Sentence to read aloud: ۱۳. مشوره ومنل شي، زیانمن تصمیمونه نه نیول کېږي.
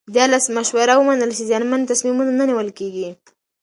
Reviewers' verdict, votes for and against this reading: rejected, 0, 2